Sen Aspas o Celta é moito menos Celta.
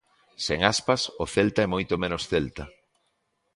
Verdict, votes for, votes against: accepted, 2, 0